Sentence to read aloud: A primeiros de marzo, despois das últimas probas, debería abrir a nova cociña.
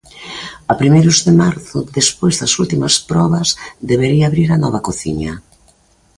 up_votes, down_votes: 2, 0